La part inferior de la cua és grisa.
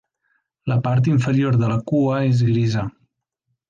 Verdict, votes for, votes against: accepted, 3, 0